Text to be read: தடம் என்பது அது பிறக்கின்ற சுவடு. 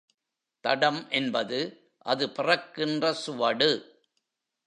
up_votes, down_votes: 2, 0